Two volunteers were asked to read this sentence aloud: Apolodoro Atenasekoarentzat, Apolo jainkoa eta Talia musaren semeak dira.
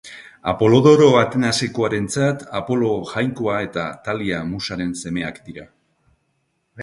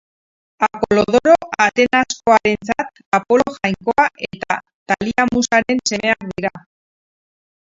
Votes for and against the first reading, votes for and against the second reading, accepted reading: 2, 1, 0, 2, first